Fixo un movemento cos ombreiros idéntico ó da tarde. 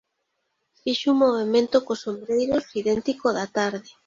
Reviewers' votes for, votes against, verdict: 2, 1, accepted